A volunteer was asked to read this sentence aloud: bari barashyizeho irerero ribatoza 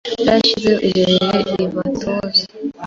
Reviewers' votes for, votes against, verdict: 0, 2, rejected